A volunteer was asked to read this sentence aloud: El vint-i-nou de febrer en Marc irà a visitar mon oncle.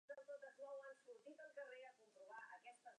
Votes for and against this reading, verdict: 2, 4, rejected